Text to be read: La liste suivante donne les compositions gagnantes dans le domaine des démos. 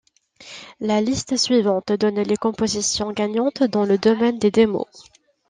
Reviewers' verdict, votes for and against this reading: accepted, 2, 0